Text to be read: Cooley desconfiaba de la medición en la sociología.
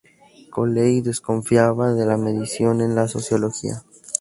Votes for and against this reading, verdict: 0, 2, rejected